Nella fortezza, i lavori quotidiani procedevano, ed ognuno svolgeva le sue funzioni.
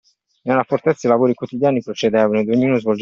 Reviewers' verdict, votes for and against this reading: rejected, 0, 2